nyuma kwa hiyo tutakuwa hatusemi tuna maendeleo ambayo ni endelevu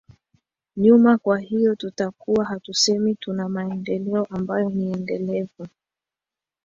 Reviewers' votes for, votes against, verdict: 12, 0, accepted